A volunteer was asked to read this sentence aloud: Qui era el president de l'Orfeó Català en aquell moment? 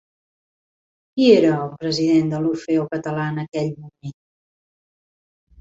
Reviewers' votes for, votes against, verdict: 1, 2, rejected